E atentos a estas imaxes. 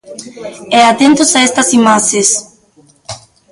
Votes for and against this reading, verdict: 0, 2, rejected